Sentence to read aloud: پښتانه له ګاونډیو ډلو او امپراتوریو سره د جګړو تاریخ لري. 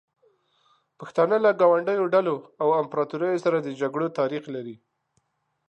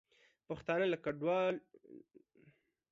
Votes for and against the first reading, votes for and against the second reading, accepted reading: 2, 0, 0, 2, first